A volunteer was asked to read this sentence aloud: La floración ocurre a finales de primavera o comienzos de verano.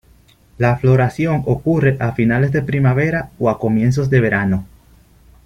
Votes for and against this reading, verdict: 1, 2, rejected